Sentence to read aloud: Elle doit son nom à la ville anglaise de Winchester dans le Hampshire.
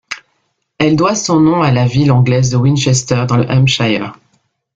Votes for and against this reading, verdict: 2, 0, accepted